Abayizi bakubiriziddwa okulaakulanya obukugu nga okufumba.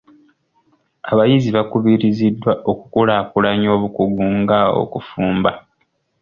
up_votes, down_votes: 2, 0